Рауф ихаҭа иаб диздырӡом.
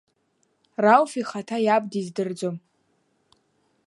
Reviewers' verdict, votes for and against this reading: accepted, 2, 0